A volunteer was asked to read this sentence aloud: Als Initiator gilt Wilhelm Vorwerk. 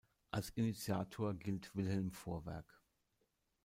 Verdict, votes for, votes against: accepted, 2, 0